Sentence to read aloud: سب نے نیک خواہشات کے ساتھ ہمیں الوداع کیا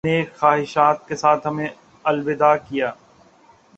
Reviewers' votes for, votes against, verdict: 1, 2, rejected